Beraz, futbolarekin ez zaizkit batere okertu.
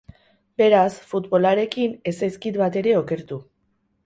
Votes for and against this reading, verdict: 4, 0, accepted